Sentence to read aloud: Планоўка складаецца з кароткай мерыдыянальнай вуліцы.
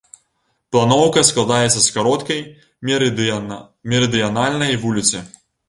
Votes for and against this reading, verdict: 0, 2, rejected